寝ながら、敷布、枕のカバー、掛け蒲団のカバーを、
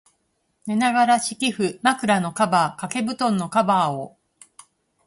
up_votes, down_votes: 4, 0